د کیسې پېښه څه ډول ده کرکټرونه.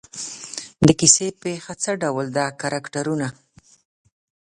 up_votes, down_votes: 2, 0